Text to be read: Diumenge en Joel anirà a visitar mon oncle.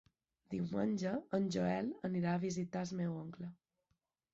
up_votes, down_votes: 1, 2